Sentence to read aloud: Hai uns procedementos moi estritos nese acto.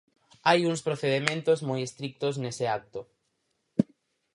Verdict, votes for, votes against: rejected, 0, 4